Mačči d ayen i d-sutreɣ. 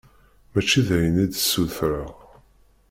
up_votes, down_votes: 2, 0